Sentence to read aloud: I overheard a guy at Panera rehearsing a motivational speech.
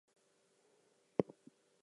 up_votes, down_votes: 0, 4